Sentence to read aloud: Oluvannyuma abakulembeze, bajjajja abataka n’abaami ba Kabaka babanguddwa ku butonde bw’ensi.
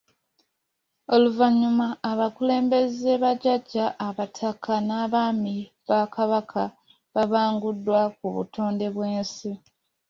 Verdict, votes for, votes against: accepted, 2, 0